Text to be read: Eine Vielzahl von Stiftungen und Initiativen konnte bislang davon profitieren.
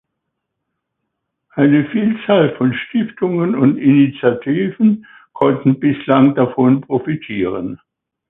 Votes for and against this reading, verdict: 0, 2, rejected